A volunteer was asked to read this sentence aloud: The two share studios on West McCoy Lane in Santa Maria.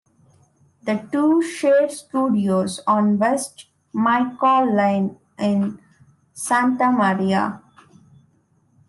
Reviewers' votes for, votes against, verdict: 1, 2, rejected